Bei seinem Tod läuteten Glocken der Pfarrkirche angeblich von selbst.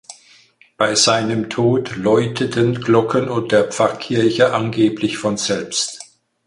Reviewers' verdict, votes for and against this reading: rejected, 2, 4